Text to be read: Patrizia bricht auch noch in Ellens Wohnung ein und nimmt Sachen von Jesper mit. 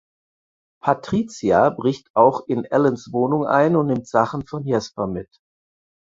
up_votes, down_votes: 2, 4